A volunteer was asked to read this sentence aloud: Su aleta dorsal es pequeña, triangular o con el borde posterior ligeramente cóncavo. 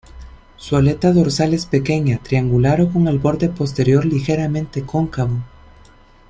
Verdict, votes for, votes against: accepted, 2, 0